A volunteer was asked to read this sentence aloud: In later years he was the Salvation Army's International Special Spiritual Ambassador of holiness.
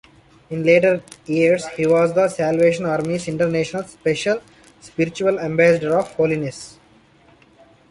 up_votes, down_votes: 3, 2